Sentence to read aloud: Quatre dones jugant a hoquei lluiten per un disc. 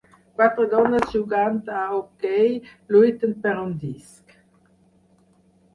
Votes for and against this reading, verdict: 0, 4, rejected